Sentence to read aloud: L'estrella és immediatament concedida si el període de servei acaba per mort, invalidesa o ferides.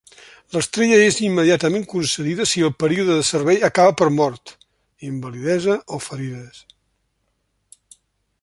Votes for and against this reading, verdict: 3, 0, accepted